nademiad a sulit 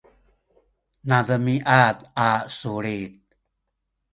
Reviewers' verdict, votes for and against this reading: accepted, 2, 0